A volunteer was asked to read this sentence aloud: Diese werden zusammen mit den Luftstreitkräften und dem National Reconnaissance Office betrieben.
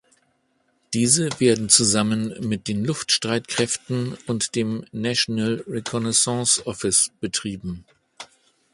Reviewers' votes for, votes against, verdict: 2, 0, accepted